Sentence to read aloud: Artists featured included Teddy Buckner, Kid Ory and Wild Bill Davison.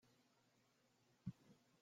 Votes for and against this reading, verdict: 0, 2, rejected